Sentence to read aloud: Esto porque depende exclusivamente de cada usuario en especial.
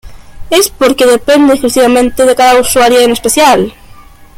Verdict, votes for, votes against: rejected, 0, 2